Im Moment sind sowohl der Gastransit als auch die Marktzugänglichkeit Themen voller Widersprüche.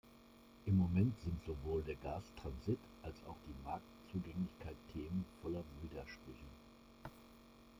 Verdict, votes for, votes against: accepted, 2, 0